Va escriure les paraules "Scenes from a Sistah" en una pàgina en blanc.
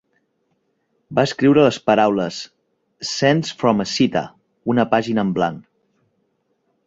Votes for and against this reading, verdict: 1, 2, rejected